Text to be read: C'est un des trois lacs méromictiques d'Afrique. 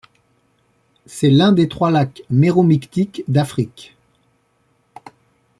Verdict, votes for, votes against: rejected, 1, 2